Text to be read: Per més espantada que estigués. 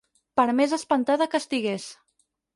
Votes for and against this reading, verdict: 6, 0, accepted